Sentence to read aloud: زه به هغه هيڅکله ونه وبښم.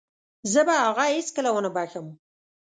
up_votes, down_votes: 2, 0